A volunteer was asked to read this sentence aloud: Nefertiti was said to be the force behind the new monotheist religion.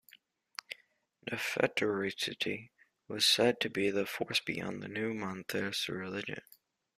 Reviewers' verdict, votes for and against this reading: accepted, 2, 1